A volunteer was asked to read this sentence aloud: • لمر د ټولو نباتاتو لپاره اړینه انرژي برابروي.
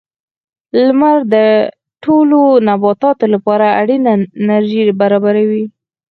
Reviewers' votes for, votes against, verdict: 2, 4, rejected